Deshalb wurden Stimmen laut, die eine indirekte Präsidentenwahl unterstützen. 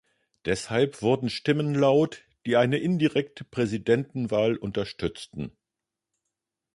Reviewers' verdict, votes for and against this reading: rejected, 0, 2